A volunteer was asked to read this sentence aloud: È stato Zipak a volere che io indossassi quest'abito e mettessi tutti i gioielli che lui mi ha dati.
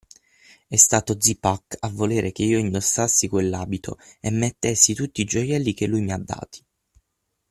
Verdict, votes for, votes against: rejected, 3, 6